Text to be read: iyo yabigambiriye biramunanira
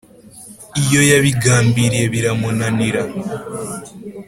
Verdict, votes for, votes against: accepted, 2, 0